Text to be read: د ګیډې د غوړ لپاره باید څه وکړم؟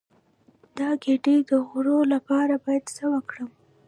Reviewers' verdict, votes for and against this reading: rejected, 1, 2